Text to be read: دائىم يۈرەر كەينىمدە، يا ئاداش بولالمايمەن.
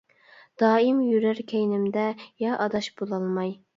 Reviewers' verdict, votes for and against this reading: rejected, 0, 2